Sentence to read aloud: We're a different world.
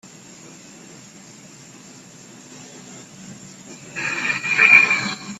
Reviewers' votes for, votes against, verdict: 0, 2, rejected